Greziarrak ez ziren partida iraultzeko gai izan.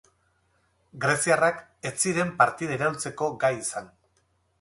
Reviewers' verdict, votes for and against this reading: rejected, 0, 4